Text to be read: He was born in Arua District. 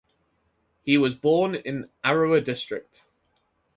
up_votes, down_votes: 2, 2